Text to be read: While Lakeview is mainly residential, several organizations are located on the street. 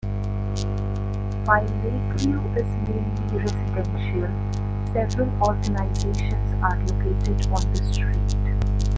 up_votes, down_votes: 1, 2